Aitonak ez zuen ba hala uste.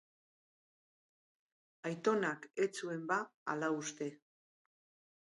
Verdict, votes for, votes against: accepted, 8, 0